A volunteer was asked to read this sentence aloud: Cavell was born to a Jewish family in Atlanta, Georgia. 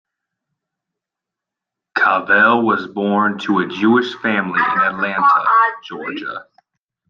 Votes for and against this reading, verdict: 0, 2, rejected